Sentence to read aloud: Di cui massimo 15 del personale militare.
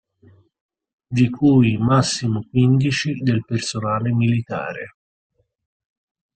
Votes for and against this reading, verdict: 0, 2, rejected